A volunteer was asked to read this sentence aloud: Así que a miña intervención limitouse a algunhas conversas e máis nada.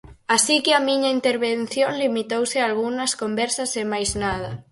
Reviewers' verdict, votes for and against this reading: accepted, 4, 2